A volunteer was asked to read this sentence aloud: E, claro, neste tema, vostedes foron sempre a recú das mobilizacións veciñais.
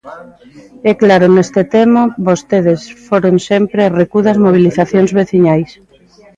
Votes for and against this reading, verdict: 1, 2, rejected